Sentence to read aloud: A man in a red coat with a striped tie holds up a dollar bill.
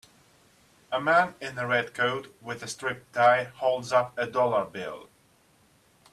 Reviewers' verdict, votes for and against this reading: accepted, 3, 1